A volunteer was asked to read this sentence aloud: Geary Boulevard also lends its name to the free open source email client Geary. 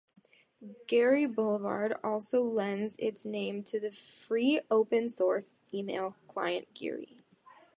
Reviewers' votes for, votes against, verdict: 2, 0, accepted